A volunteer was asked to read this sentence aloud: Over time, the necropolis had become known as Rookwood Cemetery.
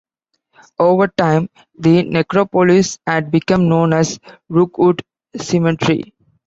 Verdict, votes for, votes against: accepted, 2, 0